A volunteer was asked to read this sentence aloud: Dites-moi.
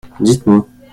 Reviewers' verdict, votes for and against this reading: rejected, 1, 2